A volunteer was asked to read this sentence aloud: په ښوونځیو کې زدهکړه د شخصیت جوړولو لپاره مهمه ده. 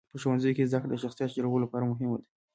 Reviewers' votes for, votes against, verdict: 2, 0, accepted